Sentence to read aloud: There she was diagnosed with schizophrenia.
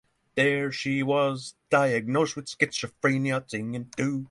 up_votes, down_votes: 0, 6